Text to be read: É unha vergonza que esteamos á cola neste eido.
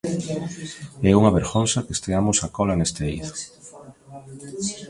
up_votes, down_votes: 2, 0